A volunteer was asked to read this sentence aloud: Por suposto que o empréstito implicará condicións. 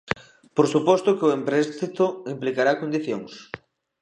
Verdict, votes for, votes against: accepted, 2, 0